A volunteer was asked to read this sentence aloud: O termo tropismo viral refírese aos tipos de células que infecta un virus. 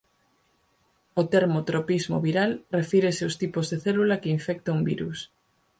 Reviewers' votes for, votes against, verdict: 0, 4, rejected